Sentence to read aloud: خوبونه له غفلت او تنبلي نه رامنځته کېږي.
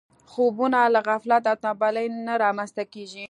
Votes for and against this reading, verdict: 1, 2, rejected